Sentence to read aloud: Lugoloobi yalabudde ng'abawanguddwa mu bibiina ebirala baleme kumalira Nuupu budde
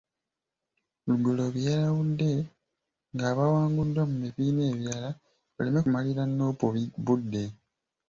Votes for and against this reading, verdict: 1, 2, rejected